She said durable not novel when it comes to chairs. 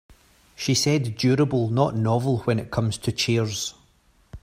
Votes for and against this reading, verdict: 3, 0, accepted